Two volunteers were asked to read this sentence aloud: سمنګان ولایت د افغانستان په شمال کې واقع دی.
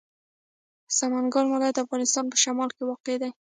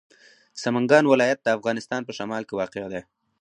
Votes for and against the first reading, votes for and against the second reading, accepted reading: 0, 2, 4, 0, second